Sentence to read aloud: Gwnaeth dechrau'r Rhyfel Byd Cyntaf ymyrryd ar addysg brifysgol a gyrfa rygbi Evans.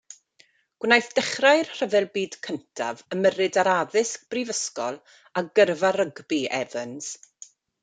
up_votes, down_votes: 2, 0